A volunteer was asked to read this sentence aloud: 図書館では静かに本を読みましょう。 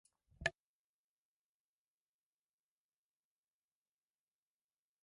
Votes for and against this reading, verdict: 0, 2, rejected